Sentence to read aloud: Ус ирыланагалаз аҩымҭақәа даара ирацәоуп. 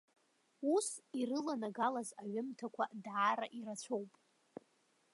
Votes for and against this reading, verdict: 2, 0, accepted